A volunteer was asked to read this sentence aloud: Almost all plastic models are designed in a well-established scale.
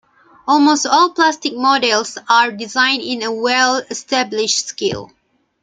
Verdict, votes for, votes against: accepted, 2, 0